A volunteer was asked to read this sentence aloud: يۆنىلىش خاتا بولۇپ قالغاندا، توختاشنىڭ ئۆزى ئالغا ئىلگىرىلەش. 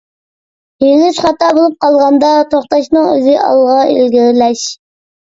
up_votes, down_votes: 2, 0